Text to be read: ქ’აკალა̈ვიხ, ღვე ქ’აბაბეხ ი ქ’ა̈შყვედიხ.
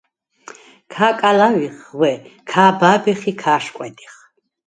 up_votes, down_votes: 2, 4